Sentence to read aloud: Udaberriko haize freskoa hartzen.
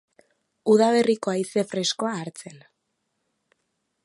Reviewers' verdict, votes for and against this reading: accepted, 4, 0